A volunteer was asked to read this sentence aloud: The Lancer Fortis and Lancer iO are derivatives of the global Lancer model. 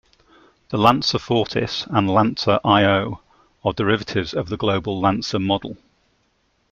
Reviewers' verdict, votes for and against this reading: accepted, 2, 1